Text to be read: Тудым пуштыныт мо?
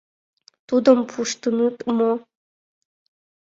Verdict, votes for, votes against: accepted, 2, 0